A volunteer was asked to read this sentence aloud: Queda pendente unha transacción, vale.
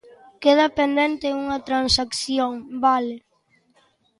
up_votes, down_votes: 2, 0